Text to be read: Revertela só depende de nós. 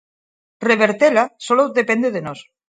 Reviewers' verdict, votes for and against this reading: rejected, 0, 4